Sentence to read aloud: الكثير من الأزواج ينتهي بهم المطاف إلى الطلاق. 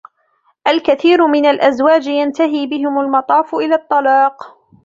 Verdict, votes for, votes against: accepted, 3, 0